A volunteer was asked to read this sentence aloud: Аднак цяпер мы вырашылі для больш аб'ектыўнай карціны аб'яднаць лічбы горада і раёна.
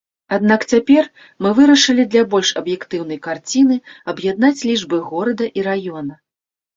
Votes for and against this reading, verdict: 1, 2, rejected